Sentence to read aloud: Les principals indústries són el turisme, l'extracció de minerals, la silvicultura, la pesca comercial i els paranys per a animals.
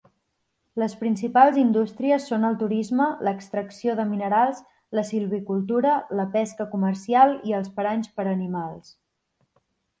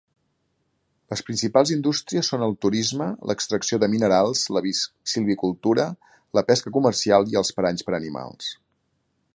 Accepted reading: first